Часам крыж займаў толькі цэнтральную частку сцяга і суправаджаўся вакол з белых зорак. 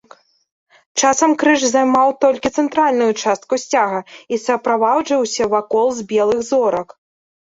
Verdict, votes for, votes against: rejected, 0, 2